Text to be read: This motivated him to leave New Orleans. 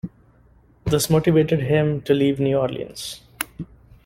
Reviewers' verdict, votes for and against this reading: accepted, 3, 0